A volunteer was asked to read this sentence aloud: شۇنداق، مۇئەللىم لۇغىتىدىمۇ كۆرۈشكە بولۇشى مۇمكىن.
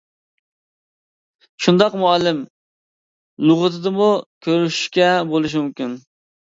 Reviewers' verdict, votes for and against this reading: rejected, 0, 2